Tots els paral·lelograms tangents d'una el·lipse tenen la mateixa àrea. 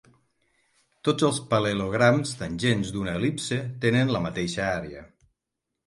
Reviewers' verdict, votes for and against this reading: rejected, 3, 6